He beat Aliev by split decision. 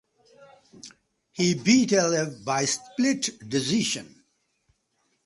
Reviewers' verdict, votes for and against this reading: rejected, 0, 2